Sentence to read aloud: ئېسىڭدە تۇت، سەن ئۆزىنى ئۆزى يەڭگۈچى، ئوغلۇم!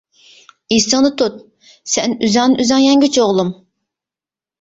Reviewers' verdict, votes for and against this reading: rejected, 0, 2